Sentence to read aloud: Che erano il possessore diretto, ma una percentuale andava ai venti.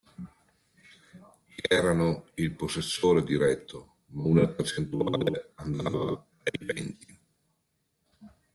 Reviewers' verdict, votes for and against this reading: rejected, 0, 2